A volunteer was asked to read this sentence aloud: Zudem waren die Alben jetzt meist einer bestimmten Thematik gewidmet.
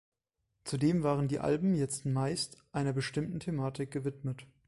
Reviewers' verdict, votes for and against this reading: accepted, 2, 0